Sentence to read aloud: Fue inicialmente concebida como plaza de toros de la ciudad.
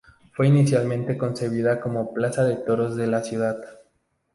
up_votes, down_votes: 2, 0